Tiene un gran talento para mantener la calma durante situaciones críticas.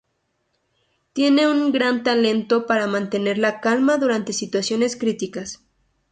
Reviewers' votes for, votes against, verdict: 6, 0, accepted